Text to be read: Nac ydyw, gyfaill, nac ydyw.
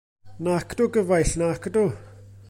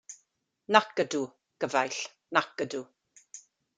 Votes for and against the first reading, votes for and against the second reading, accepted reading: 1, 2, 2, 1, second